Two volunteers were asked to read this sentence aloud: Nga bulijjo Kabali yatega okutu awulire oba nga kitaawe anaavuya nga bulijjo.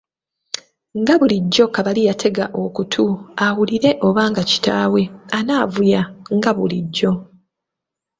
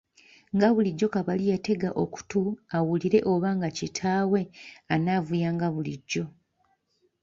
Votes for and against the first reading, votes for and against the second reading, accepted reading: 3, 0, 1, 2, first